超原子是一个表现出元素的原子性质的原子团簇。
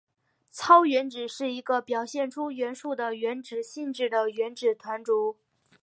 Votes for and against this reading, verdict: 3, 1, accepted